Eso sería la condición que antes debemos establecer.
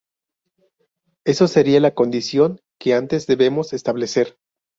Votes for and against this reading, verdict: 2, 0, accepted